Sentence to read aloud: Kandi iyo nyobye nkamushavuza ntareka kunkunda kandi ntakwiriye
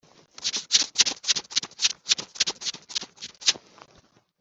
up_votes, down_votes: 0, 2